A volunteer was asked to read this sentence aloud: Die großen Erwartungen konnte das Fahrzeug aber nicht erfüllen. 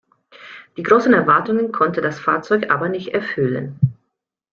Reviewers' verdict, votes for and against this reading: accepted, 2, 1